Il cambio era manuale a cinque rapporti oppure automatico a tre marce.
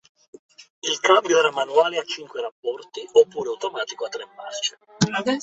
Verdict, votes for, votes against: rejected, 1, 2